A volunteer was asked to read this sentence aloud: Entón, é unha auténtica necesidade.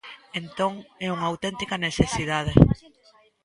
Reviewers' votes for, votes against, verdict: 2, 0, accepted